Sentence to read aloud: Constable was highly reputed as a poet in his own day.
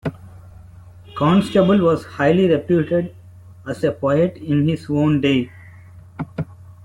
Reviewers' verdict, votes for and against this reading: accepted, 2, 1